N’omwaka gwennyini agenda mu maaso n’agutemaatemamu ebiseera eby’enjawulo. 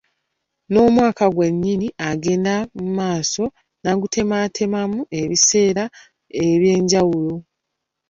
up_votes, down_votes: 0, 2